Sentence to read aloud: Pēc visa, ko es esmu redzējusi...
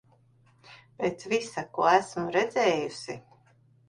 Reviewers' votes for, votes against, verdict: 0, 2, rejected